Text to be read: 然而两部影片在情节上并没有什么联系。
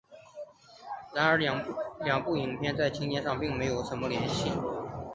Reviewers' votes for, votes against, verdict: 3, 2, accepted